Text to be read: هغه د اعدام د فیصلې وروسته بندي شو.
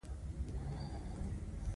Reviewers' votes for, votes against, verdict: 1, 2, rejected